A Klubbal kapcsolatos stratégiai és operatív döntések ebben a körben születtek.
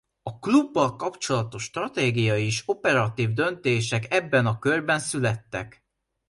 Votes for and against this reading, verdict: 2, 0, accepted